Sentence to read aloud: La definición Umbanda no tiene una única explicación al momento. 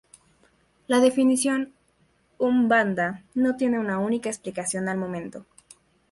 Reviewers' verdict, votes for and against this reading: rejected, 0, 2